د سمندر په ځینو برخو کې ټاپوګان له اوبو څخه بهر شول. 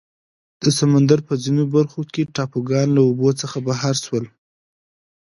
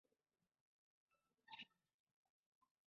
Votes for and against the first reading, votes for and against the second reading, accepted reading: 2, 0, 0, 2, first